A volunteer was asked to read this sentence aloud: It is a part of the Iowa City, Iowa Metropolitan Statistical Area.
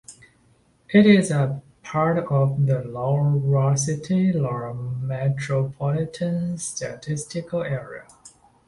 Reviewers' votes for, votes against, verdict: 0, 2, rejected